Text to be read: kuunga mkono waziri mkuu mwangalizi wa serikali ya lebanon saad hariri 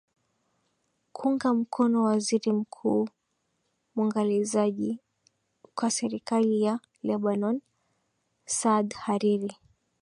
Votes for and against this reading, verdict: 2, 0, accepted